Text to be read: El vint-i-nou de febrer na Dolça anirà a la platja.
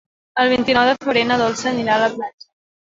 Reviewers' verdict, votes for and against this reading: accepted, 3, 0